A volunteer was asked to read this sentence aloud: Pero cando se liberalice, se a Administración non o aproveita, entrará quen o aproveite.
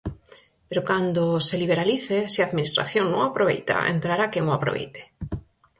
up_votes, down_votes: 4, 0